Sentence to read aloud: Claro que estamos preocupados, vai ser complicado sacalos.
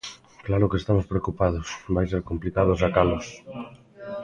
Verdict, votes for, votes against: rejected, 0, 2